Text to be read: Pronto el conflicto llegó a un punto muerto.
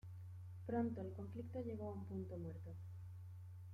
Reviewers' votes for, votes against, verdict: 2, 0, accepted